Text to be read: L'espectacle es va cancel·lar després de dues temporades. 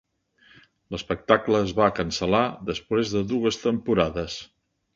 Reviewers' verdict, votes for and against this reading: accepted, 5, 0